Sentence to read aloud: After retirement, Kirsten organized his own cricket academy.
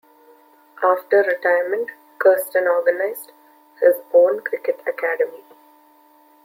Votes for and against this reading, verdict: 2, 0, accepted